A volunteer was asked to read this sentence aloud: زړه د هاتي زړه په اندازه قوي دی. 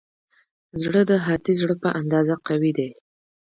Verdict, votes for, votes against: accepted, 2, 0